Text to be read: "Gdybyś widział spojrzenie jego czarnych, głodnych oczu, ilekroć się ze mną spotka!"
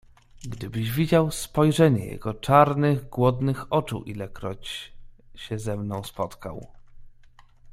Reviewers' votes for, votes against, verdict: 0, 2, rejected